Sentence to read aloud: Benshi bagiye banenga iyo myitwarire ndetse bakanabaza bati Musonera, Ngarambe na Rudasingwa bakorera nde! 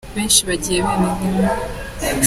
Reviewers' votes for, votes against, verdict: 0, 2, rejected